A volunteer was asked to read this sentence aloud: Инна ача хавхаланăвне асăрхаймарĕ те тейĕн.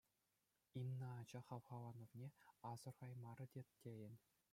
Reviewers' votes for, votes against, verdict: 2, 0, accepted